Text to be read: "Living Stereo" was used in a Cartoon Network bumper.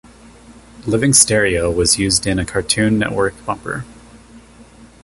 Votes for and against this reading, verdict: 2, 0, accepted